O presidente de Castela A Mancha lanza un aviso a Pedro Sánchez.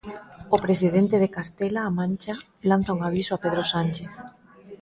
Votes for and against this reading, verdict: 2, 0, accepted